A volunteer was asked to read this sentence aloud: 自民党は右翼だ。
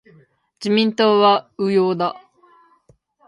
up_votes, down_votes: 2, 1